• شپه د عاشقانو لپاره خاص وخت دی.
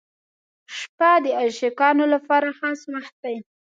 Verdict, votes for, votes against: accepted, 2, 0